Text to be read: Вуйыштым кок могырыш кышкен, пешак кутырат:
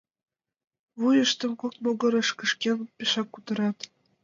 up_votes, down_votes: 2, 0